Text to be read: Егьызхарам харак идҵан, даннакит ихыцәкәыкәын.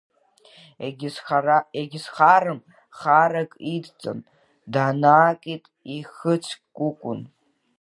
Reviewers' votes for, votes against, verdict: 0, 2, rejected